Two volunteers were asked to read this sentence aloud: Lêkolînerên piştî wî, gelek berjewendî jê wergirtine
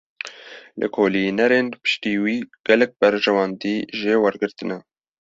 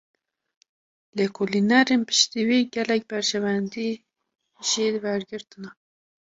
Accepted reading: first